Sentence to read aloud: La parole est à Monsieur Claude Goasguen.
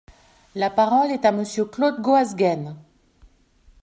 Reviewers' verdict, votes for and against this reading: accepted, 2, 1